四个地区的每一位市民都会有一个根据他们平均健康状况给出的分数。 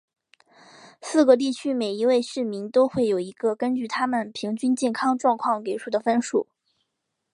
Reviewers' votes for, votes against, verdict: 1, 2, rejected